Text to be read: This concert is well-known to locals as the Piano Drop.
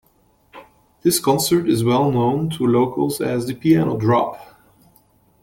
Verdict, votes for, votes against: accepted, 2, 0